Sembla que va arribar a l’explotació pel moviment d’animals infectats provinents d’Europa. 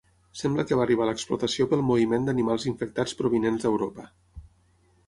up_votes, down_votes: 6, 0